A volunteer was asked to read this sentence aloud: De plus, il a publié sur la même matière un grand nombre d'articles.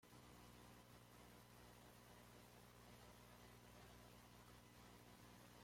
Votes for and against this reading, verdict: 0, 2, rejected